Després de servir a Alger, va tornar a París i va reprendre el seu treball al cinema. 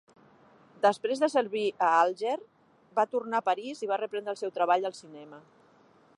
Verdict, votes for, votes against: rejected, 0, 2